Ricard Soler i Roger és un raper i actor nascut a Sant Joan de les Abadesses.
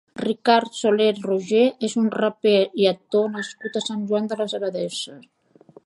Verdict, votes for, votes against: rejected, 0, 2